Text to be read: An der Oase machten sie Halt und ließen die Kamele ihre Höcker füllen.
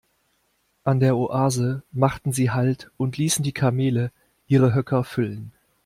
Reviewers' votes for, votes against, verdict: 2, 0, accepted